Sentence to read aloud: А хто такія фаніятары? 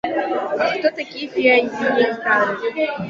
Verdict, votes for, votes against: rejected, 0, 2